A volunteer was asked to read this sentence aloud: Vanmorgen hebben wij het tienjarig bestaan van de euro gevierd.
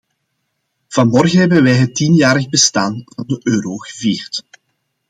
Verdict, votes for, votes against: accepted, 2, 0